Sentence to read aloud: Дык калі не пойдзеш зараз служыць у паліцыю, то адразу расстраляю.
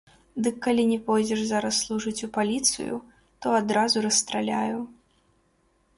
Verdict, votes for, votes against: rejected, 0, 2